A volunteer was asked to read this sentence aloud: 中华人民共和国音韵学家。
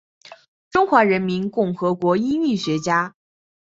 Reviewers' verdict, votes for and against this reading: accepted, 2, 0